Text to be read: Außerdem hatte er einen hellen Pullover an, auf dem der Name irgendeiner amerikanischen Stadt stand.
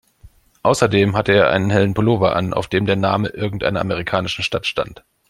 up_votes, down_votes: 2, 0